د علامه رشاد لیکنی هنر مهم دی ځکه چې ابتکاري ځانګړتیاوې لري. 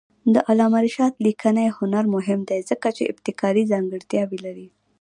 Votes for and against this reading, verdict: 1, 2, rejected